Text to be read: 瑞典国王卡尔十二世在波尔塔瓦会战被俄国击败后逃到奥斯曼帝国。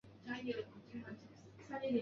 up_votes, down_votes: 0, 2